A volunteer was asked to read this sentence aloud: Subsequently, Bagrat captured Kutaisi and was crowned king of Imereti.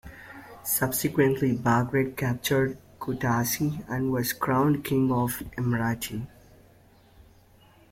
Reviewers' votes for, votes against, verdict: 0, 2, rejected